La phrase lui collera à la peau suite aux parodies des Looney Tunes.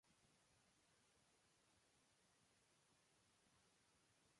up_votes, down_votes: 0, 2